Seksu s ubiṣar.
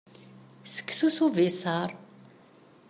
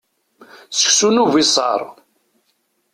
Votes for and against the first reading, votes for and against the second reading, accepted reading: 2, 0, 1, 2, first